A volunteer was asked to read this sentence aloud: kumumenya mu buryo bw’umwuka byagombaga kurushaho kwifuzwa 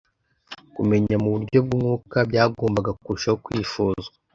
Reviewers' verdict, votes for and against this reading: rejected, 0, 2